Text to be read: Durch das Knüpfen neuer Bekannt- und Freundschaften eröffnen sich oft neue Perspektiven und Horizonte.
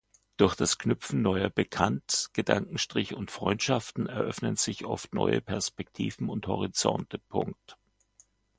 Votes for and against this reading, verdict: 0, 2, rejected